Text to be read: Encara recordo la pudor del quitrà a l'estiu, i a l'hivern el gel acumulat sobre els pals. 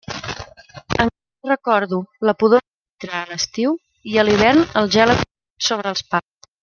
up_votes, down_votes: 0, 2